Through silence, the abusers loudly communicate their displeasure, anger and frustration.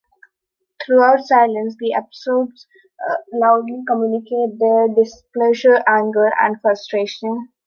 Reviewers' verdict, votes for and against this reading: rejected, 0, 2